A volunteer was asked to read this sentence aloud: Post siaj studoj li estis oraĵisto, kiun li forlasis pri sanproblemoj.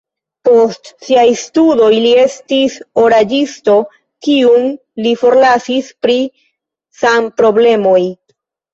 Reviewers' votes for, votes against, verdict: 1, 2, rejected